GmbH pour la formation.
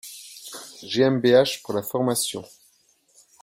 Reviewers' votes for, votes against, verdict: 2, 0, accepted